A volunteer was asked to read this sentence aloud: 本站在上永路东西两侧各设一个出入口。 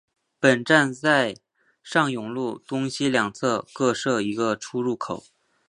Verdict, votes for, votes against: accepted, 3, 0